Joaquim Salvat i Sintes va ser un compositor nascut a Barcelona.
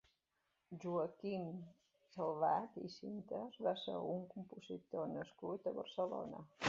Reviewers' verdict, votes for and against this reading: accepted, 2, 1